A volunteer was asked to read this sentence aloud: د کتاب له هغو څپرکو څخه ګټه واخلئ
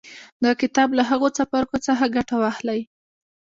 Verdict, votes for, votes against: accepted, 2, 0